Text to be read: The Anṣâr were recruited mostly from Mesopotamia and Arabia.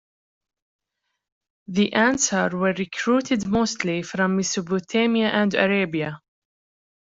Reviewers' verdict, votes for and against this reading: rejected, 0, 2